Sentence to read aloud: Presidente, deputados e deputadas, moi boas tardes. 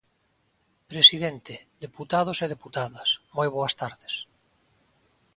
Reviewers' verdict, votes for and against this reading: accepted, 2, 0